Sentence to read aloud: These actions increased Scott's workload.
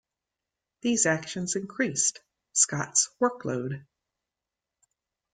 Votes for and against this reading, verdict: 1, 2, rejected